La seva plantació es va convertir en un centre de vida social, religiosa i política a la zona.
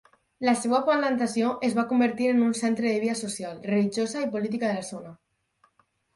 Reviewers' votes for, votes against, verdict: 2, 4, rejected